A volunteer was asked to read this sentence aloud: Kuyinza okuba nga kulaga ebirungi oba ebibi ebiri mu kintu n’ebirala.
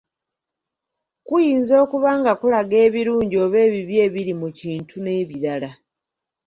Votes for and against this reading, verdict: 2, 0, accepted